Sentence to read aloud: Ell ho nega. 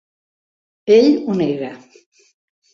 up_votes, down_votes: 2, 0